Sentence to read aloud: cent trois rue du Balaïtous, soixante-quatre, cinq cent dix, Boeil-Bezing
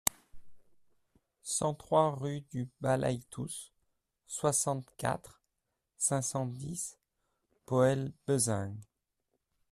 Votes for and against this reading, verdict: 2, 0, accepted